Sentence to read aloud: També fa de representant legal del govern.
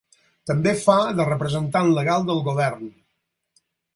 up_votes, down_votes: 4, 0